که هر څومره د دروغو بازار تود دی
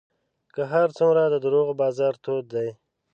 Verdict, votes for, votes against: accepted, 8, 0